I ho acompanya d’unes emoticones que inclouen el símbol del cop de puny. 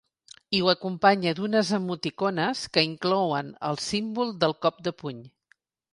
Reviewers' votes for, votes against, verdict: 2, 0, accepted